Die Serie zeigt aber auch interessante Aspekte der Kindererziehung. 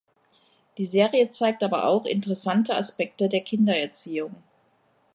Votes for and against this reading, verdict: 2, 0, accepted